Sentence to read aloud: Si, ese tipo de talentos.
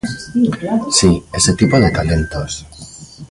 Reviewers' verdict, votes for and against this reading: rejected, 1, 2